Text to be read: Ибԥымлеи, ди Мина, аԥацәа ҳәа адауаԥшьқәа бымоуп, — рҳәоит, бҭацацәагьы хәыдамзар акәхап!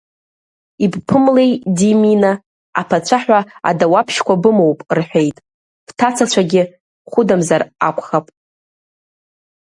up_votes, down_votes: 1, 2